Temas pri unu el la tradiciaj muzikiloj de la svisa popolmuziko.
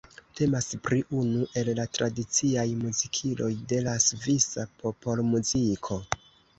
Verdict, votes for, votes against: accepted, 2, 0